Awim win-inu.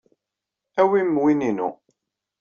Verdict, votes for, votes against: accepted, 2, 0